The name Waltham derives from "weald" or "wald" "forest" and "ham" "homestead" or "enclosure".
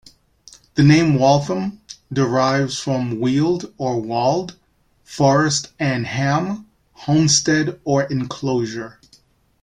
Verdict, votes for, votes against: accepted, 3, 0